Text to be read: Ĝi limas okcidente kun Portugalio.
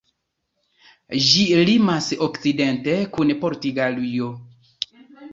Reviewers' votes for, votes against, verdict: 0, 2, rejected